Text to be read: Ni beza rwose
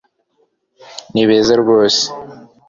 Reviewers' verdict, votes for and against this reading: accepted, 2, 0